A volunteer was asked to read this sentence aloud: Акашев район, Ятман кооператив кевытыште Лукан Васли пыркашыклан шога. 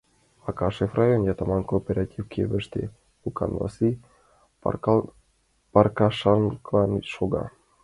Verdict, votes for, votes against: rejected, 0, 2